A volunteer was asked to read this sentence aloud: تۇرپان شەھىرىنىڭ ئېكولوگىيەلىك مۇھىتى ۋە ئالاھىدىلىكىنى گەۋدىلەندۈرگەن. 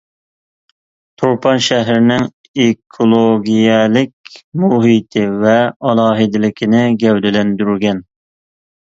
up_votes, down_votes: 2, 0